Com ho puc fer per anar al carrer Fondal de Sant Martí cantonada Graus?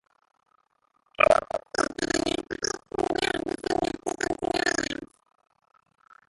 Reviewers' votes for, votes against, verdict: 0, 2, rejected